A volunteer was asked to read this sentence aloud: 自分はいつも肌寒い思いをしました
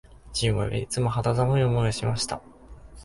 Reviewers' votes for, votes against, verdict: 2, 3, rejected